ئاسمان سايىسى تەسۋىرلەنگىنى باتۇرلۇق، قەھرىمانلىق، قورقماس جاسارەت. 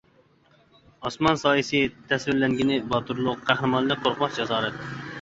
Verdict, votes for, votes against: accepted, 2, 0